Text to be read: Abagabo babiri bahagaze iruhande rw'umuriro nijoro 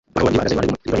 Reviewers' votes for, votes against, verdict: 0, 2, rejected